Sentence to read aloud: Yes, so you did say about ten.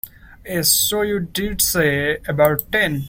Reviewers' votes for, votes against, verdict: 1, 2, rejected